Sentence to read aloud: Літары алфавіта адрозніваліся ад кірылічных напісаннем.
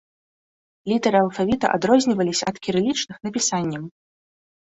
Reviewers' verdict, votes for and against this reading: accepted, 2, 0